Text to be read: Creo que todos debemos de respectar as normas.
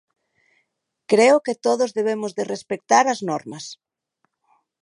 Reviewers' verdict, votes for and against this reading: accepted, 2, 0